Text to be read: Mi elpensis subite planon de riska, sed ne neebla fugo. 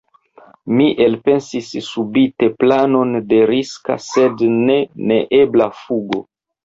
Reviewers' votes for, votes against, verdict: 3, 2, accepted